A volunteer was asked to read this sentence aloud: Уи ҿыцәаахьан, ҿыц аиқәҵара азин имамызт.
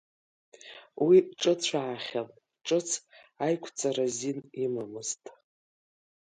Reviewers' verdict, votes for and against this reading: rejected, 0, 2